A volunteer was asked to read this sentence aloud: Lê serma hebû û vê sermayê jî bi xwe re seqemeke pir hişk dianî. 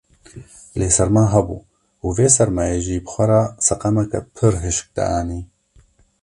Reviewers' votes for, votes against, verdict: 2, 0, accepted